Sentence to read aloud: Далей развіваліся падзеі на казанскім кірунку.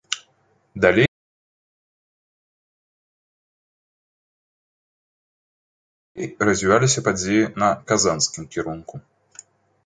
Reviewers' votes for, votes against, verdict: 0, 2, rejected